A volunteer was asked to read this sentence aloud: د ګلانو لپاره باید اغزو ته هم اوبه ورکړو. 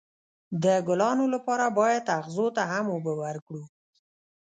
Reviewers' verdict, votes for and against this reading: rejected, 1, 2